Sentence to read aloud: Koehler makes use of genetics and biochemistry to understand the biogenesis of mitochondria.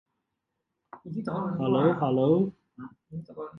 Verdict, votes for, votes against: rejected, 0, 2